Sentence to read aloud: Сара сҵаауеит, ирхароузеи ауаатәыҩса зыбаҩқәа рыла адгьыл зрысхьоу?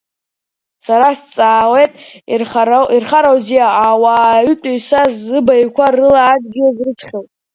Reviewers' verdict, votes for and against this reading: rejected, 0, 2